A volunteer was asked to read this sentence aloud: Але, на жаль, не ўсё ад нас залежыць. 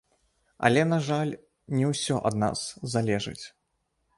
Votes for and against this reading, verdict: 0, 2, rejected